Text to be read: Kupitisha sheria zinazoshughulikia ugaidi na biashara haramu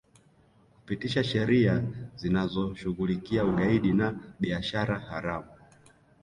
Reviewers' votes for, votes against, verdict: 2, 1, accepted